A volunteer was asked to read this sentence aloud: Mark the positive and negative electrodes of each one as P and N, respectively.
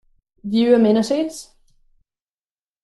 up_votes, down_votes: 0, 2